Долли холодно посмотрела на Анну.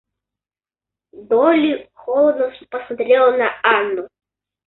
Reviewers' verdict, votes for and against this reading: rejected, 1, 2